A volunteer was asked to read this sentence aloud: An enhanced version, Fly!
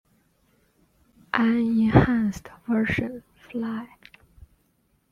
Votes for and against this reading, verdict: 0, 2, rejected